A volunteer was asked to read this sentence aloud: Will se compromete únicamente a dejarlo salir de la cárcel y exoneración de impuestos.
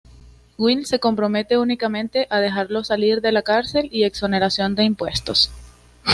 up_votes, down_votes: 2, 0